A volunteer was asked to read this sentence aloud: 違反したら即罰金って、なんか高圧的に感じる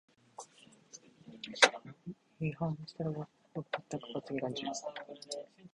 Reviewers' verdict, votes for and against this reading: rejected, 0, 2